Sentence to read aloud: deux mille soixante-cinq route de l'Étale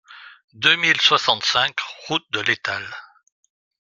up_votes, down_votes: 2, 1